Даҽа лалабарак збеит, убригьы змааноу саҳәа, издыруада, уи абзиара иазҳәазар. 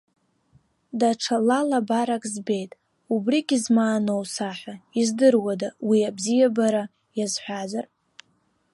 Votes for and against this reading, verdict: 0, 2, rejected